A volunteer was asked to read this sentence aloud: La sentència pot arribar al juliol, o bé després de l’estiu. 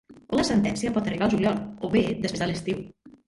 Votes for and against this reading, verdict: 1, 2, rejected